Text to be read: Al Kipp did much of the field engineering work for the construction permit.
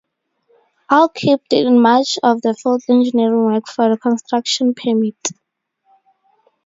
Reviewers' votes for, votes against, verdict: 2, 2, rejected